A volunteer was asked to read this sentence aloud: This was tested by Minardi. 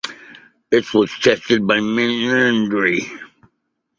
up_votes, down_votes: 0, 2